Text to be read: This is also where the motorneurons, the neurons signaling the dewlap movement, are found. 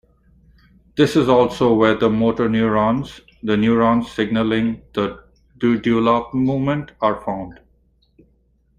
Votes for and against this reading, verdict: 1, 2, rejected